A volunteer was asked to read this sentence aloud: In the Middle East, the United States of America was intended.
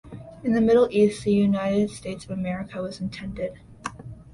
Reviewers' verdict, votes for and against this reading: accepted, 2, 0